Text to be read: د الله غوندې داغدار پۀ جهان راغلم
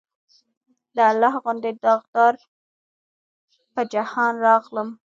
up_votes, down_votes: 1, 2